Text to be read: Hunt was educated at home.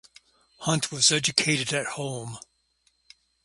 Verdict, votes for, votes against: accepted, 2, 0